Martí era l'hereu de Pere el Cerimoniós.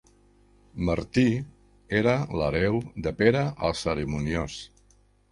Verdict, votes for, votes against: accepted, 2, 0